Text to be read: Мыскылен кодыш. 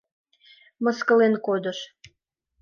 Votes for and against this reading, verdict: 2, 0, accepted